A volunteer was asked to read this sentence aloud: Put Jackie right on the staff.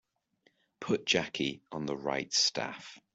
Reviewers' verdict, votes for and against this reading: rejected, 0, 2